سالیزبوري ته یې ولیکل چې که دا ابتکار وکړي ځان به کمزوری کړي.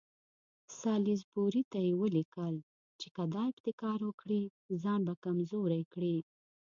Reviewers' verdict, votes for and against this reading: rejected, 1, 2